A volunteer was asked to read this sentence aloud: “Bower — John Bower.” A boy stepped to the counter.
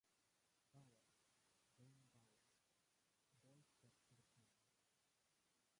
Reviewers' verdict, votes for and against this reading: rejected, 0, 3